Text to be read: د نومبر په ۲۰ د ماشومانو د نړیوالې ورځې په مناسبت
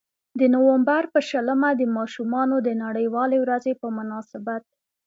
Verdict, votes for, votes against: rejected, 0, 2